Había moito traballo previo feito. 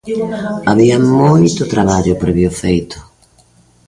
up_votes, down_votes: 2, 0